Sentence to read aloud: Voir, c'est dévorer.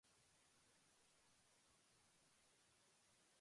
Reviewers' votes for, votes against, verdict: 0, 2, rejected